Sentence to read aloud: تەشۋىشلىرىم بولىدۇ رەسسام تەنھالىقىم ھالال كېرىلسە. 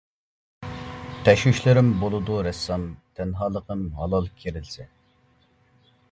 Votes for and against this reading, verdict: 0, 2, rejected